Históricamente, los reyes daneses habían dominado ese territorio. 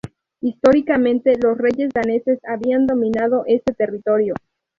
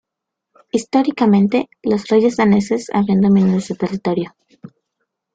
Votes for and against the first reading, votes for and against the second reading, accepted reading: 2, 0, 0, 2, first